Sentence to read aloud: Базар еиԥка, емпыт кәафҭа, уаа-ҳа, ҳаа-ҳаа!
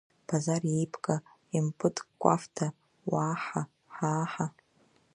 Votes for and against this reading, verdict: 2, 1, accepted